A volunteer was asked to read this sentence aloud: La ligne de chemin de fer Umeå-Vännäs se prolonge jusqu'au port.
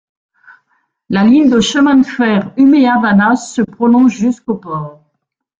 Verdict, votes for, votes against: accepted, 2, 1